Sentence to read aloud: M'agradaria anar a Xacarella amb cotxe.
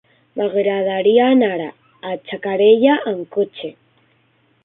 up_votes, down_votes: 1, 3